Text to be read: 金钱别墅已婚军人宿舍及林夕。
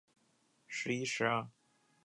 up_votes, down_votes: 0, 3